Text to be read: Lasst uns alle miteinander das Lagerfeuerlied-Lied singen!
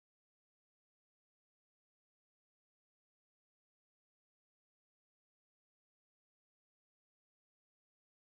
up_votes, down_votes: 0, 2